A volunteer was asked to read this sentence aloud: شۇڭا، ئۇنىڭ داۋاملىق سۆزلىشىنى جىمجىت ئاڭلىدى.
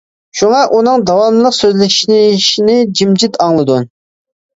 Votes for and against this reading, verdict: 0, 2, rejected